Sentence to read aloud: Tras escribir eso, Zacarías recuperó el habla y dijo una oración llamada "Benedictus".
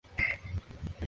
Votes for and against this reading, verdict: 0, 2, rejected